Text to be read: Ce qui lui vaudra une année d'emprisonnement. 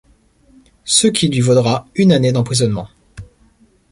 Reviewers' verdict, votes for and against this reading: accepted, 2, 1